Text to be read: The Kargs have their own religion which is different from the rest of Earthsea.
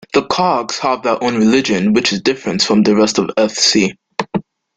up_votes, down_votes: 2, 0